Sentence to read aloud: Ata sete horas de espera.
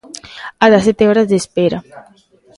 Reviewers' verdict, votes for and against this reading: rejected, 2, 3